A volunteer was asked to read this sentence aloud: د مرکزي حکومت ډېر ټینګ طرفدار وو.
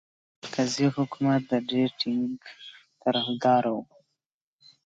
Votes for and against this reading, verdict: 2, 0, accepted